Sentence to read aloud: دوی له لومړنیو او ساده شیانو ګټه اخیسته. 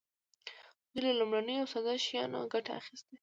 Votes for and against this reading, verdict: 2, 0, accepted